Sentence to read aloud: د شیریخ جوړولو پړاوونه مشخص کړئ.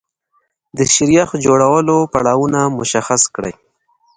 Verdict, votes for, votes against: accepted, 2, 0